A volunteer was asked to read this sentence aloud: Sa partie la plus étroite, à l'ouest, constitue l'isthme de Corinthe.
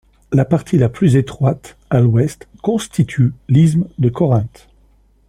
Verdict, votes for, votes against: rejected, 1, 2